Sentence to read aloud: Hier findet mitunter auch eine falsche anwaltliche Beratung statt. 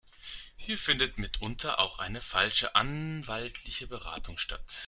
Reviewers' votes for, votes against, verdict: 2, 0, accepted